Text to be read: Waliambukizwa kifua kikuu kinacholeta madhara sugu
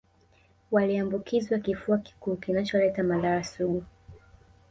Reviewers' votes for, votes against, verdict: 1, 2, rejected